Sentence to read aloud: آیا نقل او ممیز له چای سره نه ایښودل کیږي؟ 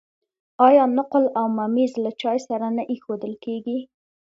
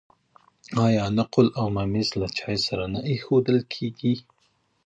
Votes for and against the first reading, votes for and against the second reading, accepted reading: 2, 0, 0, 2, first